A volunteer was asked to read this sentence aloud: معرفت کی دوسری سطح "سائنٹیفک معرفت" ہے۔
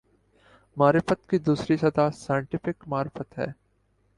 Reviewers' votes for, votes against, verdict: 2, 1, accepted